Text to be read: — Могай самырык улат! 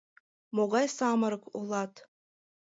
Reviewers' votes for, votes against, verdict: 3, 0, accepted